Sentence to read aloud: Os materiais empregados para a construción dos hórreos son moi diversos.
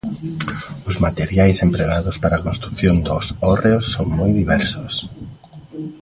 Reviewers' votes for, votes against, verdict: 1, 2, rejected